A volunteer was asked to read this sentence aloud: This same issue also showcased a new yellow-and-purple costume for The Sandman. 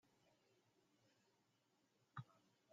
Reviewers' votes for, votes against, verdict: 0, 2, rejected